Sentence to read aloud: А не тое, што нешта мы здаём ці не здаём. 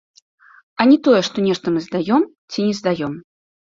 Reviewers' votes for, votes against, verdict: 1, 2, rejected